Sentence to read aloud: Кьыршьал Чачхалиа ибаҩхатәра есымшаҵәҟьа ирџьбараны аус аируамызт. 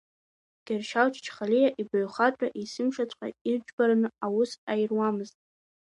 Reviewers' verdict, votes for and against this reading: accepted, 2, 0